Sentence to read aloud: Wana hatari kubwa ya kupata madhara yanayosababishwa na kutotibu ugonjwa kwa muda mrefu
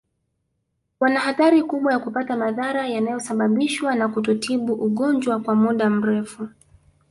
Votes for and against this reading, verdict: 4, 0, accepted